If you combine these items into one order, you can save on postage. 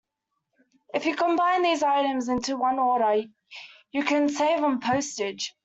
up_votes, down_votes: 2, 0